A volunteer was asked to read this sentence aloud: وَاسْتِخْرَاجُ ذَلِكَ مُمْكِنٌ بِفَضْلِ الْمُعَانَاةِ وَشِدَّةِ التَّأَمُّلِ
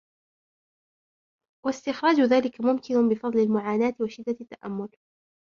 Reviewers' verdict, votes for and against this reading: accepted, 2, 1